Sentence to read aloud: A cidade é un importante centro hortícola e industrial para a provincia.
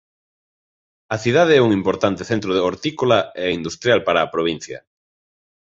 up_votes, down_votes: 0, 2